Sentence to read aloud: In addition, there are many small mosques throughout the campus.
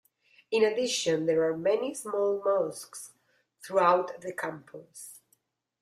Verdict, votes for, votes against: accepted, 2, 1